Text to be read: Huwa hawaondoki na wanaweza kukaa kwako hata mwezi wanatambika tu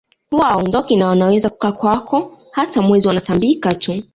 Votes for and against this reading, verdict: 2, 0, accepted